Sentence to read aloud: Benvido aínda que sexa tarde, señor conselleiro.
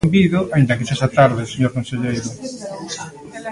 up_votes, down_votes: 0, 2